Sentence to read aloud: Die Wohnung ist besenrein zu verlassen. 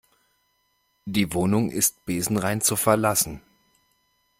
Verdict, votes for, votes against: accepted, 2, 0